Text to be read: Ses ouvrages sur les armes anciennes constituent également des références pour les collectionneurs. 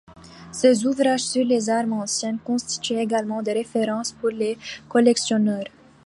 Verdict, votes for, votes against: accepted, 2, 0